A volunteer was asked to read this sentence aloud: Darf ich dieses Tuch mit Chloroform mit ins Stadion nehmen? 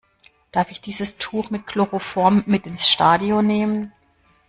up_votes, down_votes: 2, 0